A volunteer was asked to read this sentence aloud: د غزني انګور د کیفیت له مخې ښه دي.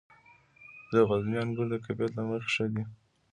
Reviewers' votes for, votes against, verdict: 2, 1, accepted